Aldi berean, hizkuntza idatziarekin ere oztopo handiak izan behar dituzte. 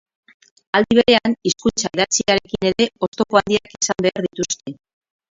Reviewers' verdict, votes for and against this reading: rejected, 0, 4